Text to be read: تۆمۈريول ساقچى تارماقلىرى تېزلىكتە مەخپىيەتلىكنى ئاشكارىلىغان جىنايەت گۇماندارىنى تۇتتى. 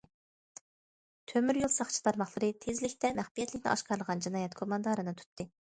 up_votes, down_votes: 2, 0